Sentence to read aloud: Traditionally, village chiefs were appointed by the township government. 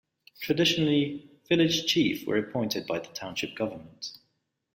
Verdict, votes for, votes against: rejected, 1, 2